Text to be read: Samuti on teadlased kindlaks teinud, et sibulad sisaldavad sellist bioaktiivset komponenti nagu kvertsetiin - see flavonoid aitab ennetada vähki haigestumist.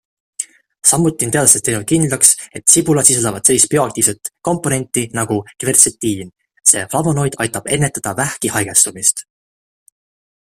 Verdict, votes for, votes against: accepted, 2, 0